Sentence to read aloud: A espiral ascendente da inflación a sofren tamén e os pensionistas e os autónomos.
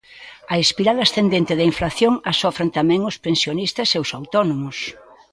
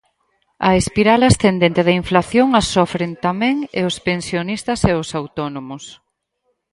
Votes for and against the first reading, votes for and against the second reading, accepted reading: 1, 2, 4, 0, second